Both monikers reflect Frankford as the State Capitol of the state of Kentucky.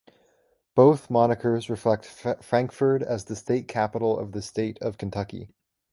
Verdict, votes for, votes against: rejected, 1, 2